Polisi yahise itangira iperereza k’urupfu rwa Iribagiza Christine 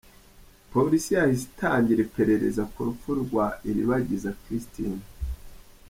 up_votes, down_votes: 2, 0